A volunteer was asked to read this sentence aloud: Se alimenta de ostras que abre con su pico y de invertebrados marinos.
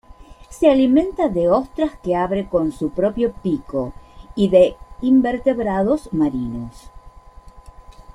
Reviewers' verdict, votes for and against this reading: rejected, 0, 2